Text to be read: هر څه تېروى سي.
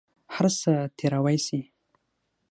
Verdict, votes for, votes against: rejected, 3, 6